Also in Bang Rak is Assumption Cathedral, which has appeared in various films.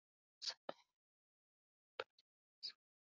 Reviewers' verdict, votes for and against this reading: rejected, 0, 2